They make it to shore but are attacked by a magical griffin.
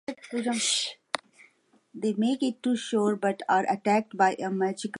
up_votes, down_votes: 0, 6